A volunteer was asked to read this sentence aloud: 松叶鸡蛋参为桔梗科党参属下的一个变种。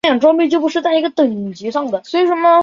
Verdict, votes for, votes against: rejected, 0, 2